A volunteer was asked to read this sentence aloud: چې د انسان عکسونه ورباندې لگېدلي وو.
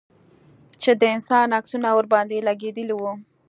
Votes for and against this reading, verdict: 2, 0, accepted